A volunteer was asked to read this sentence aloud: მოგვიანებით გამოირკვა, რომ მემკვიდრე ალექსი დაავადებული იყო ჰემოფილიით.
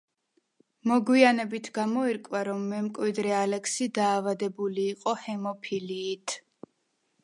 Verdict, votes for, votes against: accepted, 2, 0